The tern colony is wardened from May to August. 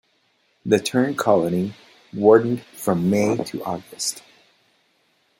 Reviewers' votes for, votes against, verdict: 1, 2, rejected